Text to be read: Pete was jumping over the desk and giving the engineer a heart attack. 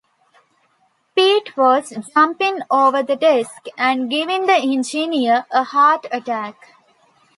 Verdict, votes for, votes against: accepted, 2, 0